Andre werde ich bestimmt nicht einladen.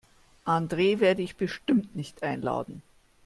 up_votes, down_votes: 1, 2